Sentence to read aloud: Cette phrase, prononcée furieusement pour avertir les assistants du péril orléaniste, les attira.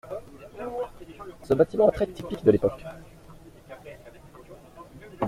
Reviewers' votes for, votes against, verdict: 0, 2, rejected